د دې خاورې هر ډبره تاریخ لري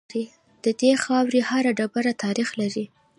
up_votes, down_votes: 2, 0